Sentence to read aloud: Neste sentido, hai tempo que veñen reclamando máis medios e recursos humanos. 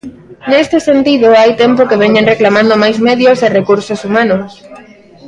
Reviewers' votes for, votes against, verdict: 2, 0, accepted